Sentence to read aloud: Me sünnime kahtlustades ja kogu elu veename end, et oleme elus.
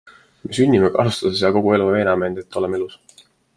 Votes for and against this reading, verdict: 2, 1, accepted